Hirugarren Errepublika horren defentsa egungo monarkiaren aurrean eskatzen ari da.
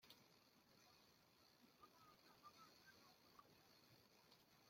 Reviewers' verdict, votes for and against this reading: rejected, 0, 2